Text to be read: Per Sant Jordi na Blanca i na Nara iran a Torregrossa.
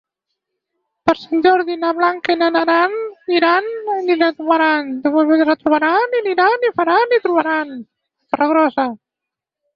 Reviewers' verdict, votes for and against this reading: rejected, 0, 4